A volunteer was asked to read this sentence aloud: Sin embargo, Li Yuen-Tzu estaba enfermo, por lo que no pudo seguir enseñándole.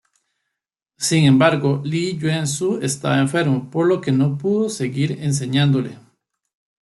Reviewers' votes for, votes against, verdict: 0, 2, rejected